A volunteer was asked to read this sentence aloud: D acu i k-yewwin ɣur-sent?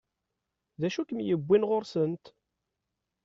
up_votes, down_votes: 2, 0